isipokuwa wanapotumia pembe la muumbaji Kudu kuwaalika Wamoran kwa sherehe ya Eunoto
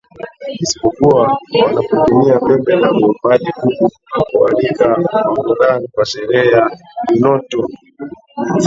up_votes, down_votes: 0, 4